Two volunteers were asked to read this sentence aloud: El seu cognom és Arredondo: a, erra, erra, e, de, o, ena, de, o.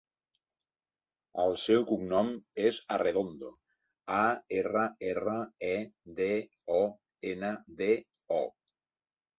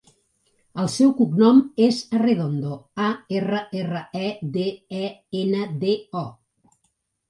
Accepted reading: first